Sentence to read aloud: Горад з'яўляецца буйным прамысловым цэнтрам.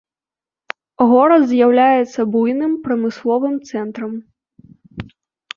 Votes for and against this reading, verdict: 2, 0, accepted